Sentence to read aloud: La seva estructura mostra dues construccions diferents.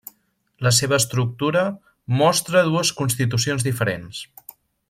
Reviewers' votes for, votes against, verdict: 0, 2, rejected